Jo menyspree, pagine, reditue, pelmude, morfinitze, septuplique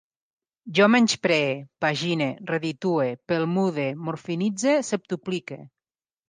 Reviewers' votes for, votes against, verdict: 2, 0, accepted